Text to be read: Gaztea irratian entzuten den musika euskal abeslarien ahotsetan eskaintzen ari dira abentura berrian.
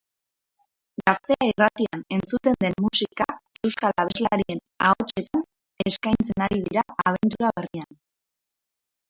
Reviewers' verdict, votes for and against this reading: rejected, 2, 2